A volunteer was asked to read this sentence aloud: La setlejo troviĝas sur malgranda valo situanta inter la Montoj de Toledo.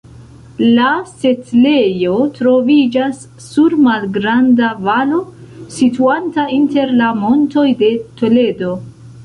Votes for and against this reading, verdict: 2, 0, accepted